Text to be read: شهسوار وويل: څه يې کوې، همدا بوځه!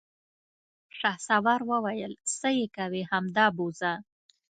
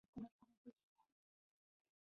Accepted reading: first